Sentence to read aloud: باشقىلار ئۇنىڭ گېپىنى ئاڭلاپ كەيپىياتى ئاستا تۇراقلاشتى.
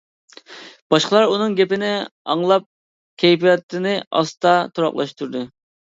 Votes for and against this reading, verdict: 0, 2, rejected